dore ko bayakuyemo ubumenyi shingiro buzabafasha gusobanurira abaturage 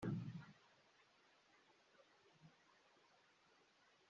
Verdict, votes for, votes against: rejected, 0, 3